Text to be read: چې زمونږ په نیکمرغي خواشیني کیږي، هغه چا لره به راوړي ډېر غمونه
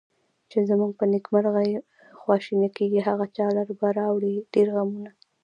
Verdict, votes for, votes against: accepted, 2, 1